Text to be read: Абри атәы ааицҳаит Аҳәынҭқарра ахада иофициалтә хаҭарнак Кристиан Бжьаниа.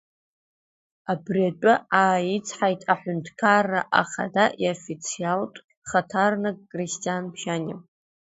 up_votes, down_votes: 2, 1